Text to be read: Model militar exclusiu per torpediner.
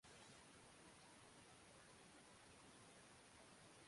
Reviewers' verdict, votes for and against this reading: rejected, 0, 2